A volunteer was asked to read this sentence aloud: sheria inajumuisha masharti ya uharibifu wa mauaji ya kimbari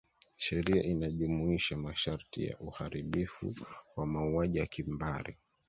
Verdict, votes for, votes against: accepted, 2, 1